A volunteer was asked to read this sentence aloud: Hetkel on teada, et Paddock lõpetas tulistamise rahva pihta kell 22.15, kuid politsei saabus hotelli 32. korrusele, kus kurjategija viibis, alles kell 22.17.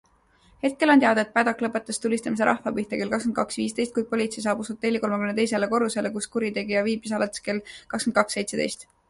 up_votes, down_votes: 0, 2